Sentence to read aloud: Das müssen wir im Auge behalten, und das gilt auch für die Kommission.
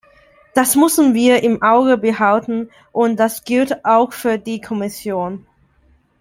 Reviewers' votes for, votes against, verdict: 0, 2, rejected